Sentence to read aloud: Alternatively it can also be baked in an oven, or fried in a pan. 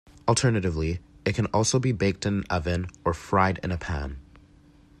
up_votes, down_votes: 1, 2